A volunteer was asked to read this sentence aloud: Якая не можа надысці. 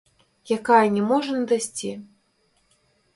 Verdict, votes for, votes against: rejected, 1, 2